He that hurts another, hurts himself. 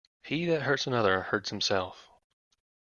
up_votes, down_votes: 2, 0